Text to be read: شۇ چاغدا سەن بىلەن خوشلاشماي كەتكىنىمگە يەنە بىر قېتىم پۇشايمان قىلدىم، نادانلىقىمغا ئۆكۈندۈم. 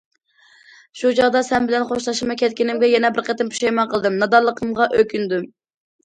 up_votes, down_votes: 2, 0